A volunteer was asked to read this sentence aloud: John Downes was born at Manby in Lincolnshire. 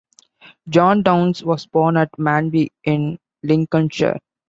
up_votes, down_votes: 2, 0